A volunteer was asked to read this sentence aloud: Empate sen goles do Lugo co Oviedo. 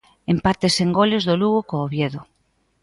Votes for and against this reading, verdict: 2, 0, accepted